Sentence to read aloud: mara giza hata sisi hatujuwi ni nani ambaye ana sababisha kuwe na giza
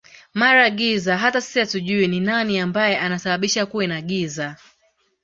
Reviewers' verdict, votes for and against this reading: accepted, 2, 1